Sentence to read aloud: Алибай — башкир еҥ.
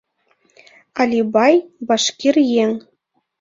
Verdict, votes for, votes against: accepted, 2, 0